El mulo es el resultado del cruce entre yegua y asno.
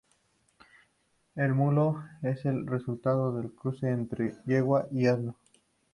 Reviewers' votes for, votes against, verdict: 4, 0, accepted